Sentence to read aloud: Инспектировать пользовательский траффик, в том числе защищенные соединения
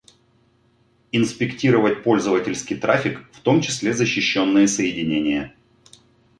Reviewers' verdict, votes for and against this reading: accepted, 2, 0